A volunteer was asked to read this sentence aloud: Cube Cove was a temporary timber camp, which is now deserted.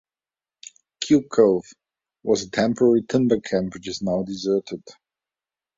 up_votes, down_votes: 2, 1